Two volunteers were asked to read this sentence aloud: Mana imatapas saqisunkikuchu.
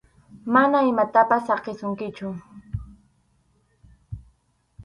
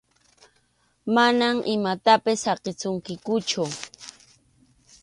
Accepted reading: second